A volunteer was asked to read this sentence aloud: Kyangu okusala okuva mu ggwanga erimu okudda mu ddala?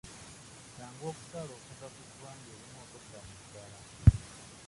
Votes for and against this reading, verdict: 0, 2, rejected